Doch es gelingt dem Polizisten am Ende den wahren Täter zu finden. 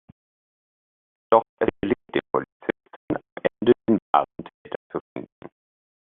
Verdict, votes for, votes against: rejected, 0, 2